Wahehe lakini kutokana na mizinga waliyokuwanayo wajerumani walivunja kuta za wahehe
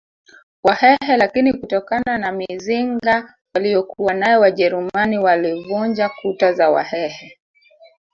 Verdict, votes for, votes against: accepted, 3, 1